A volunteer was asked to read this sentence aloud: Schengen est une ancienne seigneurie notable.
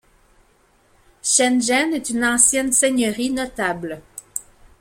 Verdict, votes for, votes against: accepted, 2, 1